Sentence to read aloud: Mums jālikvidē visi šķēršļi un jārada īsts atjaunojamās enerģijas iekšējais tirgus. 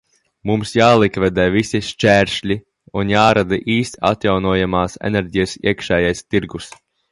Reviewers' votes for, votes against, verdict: 2, 0, accepted